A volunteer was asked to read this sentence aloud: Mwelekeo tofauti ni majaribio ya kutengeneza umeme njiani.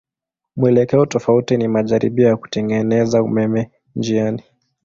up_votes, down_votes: 2, 0